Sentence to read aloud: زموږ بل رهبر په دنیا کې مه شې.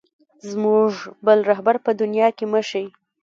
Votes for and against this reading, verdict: 2, 1, accepted